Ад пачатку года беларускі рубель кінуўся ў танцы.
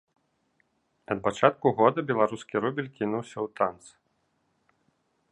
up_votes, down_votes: 1, 2